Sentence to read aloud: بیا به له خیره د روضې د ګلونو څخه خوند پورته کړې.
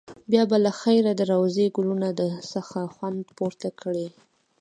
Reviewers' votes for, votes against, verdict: 1, 2, rejected